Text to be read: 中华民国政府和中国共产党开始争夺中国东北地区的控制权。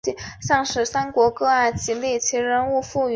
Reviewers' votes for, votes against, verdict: 0, 2, rejected